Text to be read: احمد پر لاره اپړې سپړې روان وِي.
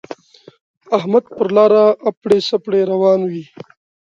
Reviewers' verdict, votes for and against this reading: accepted, 2, 0